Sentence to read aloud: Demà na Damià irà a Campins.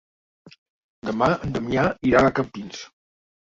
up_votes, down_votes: 1, 2